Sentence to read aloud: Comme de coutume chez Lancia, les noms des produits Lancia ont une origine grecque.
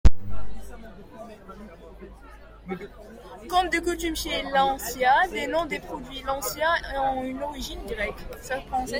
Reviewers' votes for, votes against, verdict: 0, 2, rejected